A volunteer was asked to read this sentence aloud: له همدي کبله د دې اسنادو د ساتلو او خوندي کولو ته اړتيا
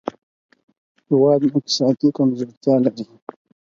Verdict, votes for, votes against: rejected, 0, 4